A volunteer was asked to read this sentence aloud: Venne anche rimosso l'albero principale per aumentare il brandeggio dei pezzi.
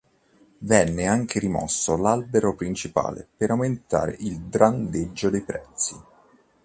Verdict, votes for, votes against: rejected, 0, 2